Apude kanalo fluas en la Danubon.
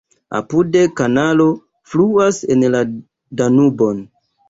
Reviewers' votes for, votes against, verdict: 2, 0, accepted